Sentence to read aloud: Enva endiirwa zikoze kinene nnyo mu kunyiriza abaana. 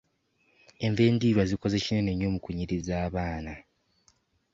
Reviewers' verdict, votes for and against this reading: accepted, 2, 0